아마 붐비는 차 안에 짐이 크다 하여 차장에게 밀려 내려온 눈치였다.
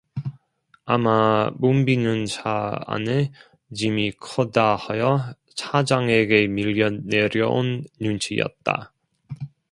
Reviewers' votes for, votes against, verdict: 0, 2, rejected